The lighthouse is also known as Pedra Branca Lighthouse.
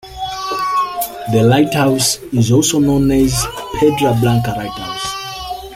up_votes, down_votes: 0, 2